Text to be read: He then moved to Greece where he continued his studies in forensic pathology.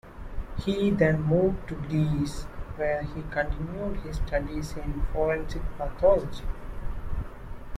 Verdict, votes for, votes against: rejected, 1, 2